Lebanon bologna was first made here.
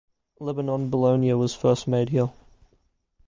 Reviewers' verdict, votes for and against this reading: accepted, 2, 0